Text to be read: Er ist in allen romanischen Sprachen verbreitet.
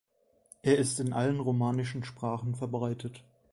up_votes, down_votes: 2, 0